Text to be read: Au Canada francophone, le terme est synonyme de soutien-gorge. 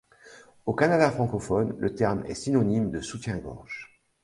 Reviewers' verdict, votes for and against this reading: accepted, 2, 0